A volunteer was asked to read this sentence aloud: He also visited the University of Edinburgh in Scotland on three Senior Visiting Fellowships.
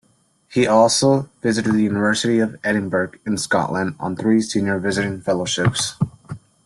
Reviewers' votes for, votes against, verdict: 2, 0, accepted